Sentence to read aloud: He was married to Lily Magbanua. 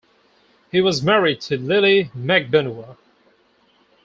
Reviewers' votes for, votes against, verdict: 4, 0, accepted